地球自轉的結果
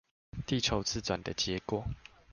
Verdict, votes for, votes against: accepted, 2, 0